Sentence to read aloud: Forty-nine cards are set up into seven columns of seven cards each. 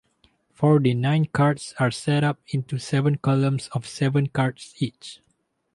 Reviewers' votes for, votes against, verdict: 2, 0, accepted